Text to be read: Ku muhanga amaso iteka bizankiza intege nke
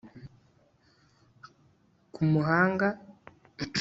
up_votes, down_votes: 0, 2